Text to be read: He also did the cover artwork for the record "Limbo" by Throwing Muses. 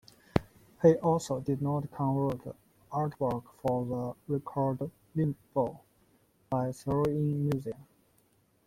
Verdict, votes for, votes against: rejected, 0, 2